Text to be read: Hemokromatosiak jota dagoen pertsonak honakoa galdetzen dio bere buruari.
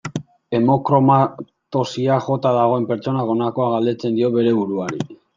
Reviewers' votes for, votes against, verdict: 0, 2, rejected